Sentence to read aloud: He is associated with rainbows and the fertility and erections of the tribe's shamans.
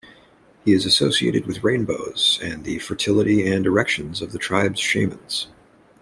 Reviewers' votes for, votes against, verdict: 1, 2, rejected